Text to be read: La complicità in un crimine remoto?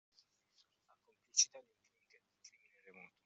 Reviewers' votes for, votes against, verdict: 0, 2, rejected